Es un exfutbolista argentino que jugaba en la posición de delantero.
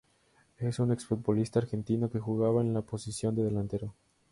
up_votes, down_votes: 2, 0